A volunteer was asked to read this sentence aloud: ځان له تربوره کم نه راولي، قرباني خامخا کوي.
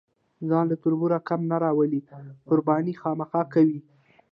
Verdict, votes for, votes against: accepted, 2, 0